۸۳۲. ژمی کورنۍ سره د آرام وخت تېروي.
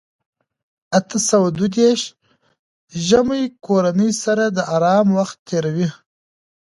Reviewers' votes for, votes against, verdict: 0, 2, rejected